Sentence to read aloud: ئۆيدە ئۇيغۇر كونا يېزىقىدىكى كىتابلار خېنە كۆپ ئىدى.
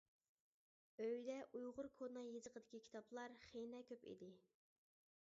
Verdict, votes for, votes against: rejected, 1, 2